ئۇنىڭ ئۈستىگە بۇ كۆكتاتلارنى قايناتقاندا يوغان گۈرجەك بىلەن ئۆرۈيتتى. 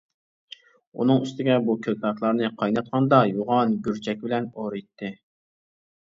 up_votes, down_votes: 1, 2